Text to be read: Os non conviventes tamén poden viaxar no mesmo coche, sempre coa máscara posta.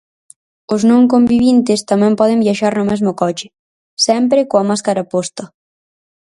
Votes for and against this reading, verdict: 0, 4, rejected